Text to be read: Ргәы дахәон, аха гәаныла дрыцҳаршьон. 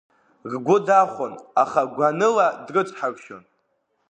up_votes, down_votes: 1, 2